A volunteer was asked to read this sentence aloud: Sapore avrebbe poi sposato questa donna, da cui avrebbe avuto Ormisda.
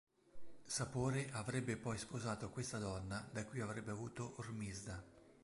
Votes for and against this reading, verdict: 3, 0, accepted